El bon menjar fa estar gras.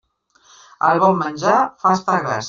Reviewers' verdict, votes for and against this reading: accepted, 2, 0